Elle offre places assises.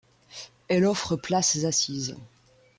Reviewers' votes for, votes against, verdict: 2, 1, accepted